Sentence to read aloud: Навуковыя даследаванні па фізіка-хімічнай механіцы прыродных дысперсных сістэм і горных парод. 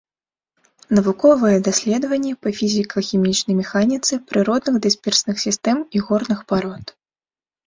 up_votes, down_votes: 1, 2